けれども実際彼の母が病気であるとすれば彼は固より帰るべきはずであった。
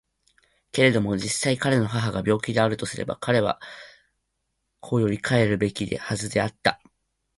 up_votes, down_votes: 0, 2